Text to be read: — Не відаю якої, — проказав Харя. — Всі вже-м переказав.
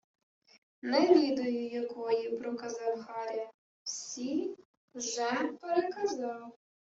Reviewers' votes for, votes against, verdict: 1, 2, rejected